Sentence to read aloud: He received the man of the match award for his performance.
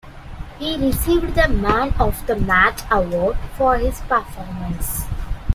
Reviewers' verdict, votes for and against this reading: accepted, 2, 0